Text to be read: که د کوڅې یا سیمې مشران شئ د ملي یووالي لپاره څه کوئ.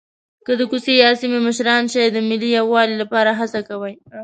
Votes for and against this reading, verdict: 0, 2, rejected